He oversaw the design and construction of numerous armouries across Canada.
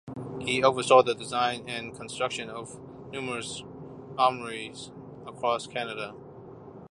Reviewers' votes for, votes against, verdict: 2, 1, accepted